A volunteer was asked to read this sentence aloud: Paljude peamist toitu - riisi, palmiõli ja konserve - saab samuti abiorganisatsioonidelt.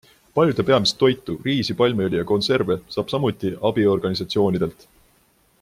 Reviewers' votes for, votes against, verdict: 2, 0, accepted